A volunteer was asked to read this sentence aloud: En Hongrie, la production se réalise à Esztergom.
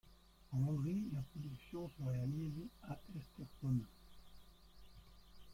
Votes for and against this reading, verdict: 0, 2, rejected